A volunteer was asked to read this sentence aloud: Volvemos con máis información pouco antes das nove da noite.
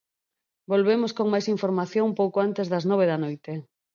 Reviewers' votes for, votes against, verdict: 6, 0, accepted